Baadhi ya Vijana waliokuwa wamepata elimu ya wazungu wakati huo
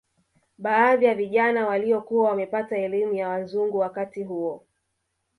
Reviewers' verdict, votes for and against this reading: rejected, 1, 2